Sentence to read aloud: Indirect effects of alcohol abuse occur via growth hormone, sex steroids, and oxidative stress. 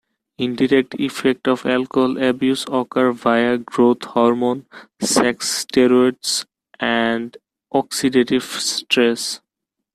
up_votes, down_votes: 2, 0